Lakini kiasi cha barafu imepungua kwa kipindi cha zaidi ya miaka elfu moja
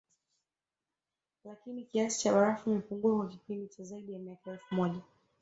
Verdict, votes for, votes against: accepted, 2, 1